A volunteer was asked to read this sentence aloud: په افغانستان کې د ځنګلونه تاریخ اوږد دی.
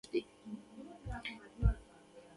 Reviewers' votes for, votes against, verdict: 1, 2, rejected